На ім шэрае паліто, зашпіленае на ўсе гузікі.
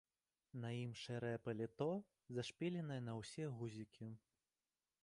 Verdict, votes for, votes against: rejected, 1, 2